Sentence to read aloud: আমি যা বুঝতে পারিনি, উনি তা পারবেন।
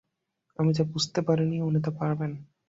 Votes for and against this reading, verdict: 0, 5, rejected